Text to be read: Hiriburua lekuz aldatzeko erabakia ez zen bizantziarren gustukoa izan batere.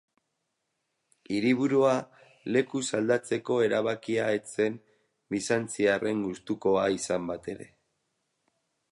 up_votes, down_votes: 4, 0